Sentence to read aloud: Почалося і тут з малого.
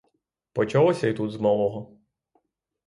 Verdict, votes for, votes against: accepted, 6, 0